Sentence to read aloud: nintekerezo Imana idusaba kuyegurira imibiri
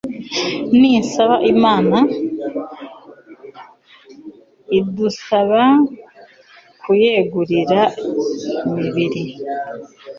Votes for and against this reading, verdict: 0, 2, rejected